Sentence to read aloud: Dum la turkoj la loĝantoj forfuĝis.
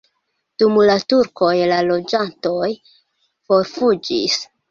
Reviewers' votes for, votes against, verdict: 2, 0, accepted